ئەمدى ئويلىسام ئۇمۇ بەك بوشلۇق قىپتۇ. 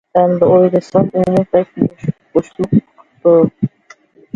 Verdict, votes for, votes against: rejected, 0, 2